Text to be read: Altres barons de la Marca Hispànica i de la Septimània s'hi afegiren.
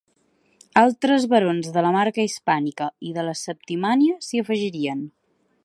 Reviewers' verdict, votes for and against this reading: rejected, 0, 3